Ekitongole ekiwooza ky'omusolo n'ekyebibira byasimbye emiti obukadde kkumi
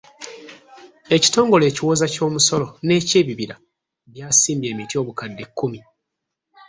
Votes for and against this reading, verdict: 2, 0, accepted